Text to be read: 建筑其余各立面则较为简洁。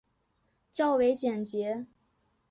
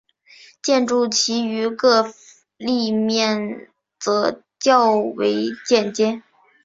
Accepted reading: second